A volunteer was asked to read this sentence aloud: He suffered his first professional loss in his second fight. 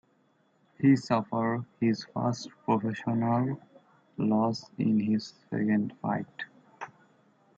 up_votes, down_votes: 1, 2